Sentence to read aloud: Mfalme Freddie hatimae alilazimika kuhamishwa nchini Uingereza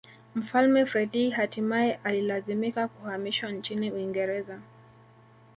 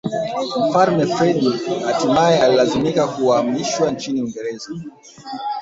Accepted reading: first